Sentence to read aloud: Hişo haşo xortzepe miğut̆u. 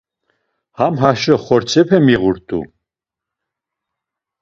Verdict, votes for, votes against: rejected, 0, 2